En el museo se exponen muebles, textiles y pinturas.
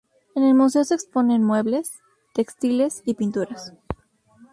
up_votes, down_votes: 2, 2